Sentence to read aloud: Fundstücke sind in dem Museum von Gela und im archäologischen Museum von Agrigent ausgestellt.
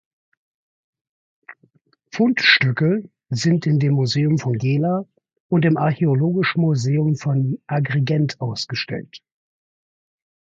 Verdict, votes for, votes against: accepted, 2, 0